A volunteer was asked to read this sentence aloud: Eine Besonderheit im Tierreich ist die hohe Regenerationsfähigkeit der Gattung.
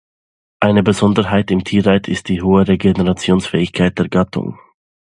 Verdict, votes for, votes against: rejected, 0, 2